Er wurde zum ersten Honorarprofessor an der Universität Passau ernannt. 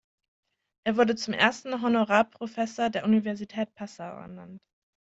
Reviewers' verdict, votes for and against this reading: rejected, 1, 2